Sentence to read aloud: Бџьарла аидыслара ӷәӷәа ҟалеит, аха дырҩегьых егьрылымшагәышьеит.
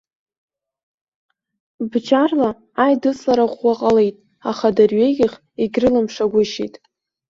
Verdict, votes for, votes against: accepted, 2, 0